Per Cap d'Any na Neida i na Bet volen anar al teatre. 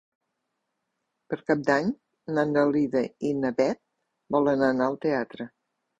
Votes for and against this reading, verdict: 0, 3, rejected